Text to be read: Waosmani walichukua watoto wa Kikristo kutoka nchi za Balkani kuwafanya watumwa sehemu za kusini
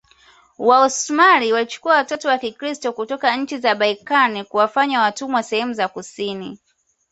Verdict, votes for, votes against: accepted, 2, 0